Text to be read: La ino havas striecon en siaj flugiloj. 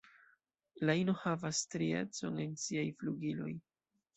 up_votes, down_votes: 2, 0